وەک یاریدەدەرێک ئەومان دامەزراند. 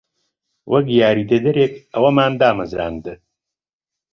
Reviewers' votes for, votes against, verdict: 2, 0, accepted